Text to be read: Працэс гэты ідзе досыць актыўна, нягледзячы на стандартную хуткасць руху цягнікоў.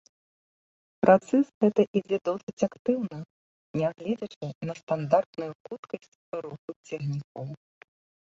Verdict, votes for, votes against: rejected, 1, 2